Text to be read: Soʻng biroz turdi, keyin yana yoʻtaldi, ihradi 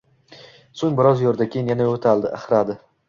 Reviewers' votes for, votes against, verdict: 1, 2, rejected